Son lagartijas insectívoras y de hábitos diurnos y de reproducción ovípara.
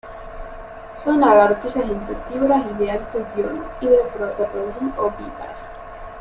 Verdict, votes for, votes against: rejected, 1, 2